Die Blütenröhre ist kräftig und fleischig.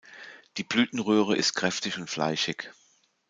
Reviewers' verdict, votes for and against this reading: accepted, 2, 0